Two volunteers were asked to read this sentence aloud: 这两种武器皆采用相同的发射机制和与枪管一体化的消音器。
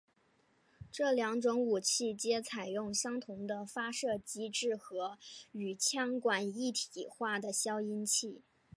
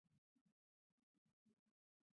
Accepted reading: first